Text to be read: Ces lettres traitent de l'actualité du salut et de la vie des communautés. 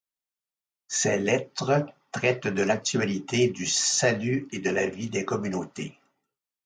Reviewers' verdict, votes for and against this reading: accepted, 2, 0